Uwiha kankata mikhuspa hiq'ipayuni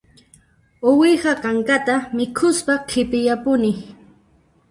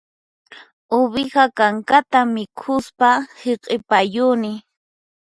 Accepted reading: second